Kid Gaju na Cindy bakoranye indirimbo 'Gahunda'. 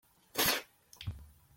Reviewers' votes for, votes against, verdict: 0, 2, rejected